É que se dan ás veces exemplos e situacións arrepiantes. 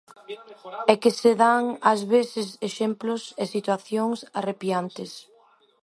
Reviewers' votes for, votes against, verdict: 1, 2, rejected